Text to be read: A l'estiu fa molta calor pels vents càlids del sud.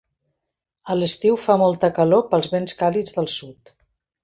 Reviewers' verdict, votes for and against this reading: accepted, 2, 0